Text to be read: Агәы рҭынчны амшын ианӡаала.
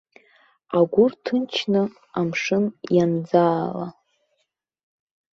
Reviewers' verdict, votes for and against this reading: accepted, 2, 0